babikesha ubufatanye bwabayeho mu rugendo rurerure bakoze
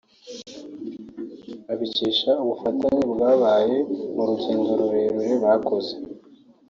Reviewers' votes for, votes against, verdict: 1, 2, rejected